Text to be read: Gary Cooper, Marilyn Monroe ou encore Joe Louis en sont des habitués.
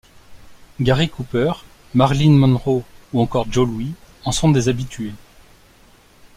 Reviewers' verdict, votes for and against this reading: rejected, 2, 3